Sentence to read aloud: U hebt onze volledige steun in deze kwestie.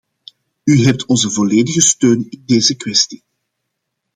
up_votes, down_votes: 2, 0